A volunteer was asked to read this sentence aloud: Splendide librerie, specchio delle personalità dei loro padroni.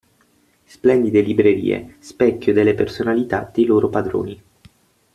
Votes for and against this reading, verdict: 6, 0, accepted